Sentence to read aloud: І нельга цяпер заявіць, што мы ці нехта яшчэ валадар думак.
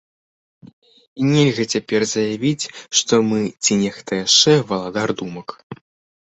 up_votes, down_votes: 2, 0